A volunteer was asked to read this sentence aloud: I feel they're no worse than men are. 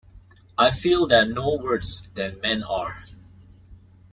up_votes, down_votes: 2, 0